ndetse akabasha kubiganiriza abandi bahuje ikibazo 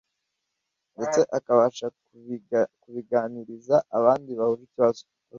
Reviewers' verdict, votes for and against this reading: rejected, 1, 2